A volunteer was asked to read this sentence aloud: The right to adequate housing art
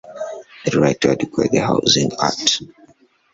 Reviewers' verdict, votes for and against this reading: rejected, 0, 2